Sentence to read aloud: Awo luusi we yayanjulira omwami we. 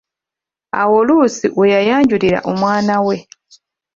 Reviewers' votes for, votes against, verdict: 1, 2, rejected